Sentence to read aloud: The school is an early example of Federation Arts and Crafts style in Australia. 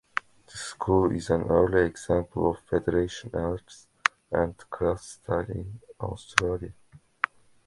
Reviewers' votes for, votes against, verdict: 2, 1, accepted